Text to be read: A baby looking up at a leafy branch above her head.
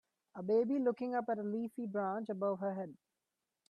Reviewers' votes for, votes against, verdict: 2, 0, accepted